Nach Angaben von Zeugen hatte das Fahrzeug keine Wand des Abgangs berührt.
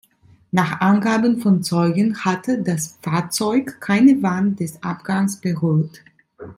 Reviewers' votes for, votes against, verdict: 2, 1, accepted